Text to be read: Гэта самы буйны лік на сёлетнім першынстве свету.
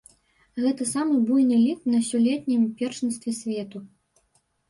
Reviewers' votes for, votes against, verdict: 0, 3, rejected